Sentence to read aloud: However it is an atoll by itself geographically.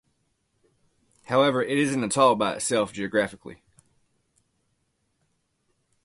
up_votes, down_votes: 2, 0